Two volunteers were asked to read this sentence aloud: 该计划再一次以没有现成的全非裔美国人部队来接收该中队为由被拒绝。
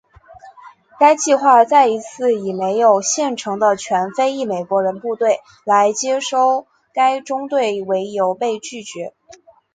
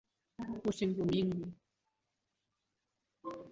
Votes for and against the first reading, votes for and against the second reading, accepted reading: 3, 0, 0, 3, first